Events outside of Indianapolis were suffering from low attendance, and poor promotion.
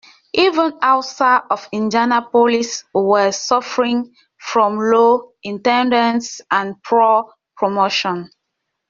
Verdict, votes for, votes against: rejected, 1, 2